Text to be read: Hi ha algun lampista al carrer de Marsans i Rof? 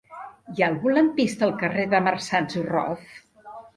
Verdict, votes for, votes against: rejected, 1, 2